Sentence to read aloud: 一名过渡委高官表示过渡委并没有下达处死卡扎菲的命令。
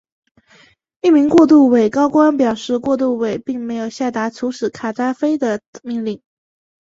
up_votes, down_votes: 3, 0